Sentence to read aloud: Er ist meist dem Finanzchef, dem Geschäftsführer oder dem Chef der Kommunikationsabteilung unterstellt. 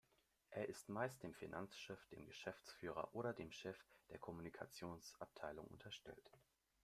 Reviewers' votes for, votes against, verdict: 2, 0, accepted